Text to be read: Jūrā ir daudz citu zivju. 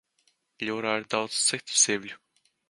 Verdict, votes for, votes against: rejected, 1, 2